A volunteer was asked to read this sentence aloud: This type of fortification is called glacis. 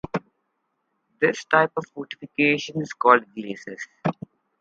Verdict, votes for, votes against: accepted, 4, 0